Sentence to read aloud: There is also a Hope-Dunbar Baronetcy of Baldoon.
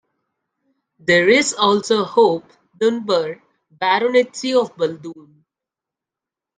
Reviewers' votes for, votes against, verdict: 1, 2, rejected